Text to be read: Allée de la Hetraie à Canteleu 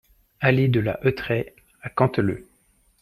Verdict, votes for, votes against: accepted, 2, 1